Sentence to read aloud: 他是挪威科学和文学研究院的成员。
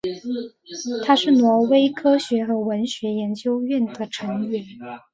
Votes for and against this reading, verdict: 9, 1, accepted